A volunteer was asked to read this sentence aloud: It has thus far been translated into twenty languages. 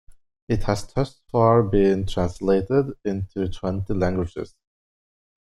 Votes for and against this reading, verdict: 0, 2, rejected